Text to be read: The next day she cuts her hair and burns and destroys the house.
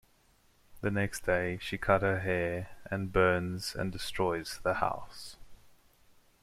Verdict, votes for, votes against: rejected, 0, 2